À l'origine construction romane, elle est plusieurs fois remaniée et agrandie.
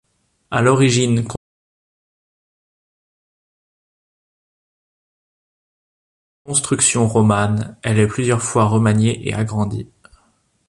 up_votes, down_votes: 0, 2